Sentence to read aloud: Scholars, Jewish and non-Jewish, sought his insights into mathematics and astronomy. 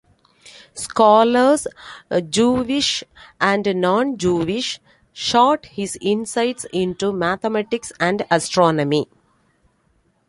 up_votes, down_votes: 0, 2